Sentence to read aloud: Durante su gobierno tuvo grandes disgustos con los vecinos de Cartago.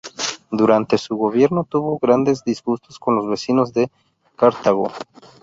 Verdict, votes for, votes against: rejected, 2, 2